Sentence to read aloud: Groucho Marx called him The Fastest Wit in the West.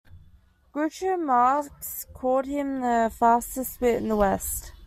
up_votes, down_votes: 2, 0